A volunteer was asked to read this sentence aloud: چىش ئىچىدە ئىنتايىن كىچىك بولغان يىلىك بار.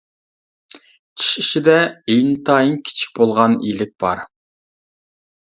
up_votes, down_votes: 2, 0